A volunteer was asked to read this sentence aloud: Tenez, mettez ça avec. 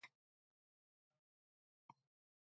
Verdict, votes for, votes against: rejected, 0, 2